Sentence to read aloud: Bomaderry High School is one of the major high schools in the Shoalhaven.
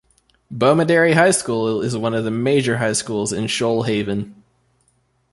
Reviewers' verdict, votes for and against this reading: accepted, 2, 0